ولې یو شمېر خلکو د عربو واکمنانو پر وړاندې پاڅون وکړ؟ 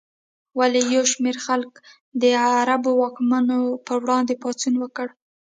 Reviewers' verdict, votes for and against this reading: accepted, 2, 1